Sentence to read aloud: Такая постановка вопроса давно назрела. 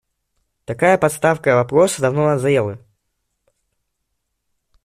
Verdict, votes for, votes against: rejected, 1, 2